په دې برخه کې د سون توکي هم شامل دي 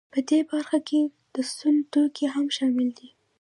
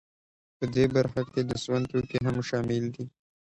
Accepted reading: second